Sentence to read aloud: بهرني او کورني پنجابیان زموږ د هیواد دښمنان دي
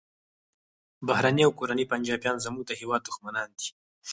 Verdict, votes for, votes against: rejected, 2, 4